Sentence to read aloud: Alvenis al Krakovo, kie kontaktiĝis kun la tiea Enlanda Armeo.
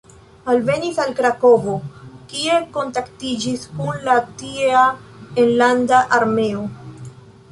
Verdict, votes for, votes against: rejected, 1, 2